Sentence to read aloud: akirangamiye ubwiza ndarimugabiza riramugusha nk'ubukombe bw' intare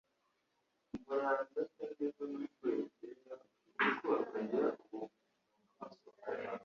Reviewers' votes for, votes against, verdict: 1, 2, rejected